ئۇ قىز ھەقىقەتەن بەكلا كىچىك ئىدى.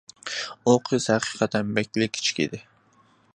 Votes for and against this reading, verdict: 2, 1, accepted